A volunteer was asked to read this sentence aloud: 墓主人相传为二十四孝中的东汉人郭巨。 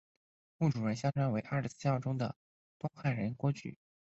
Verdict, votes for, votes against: rejected, 0, 2